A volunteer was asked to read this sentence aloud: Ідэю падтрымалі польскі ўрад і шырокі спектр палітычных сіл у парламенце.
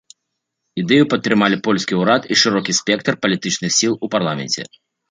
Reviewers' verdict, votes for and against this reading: accepted, 2, 1